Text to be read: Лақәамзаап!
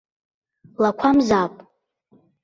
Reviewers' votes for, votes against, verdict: 2, 0, accepted